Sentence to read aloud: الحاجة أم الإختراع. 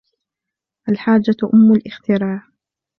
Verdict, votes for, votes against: accepted, 2, 0